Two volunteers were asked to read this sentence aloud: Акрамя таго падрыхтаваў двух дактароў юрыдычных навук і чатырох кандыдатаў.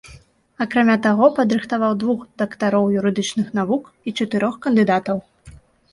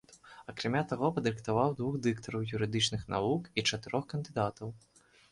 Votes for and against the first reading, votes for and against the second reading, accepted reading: 2, 0, 2, 3, first